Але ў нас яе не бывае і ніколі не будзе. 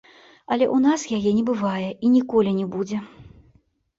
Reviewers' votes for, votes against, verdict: 2, 0, accepted